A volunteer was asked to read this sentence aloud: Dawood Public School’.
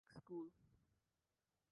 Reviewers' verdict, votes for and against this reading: rejected, 0, 2